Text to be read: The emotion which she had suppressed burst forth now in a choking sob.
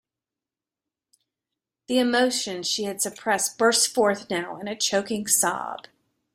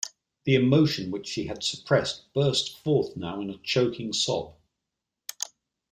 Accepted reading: second